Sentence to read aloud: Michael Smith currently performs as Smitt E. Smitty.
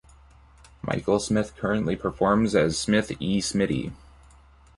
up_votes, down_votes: 1, 2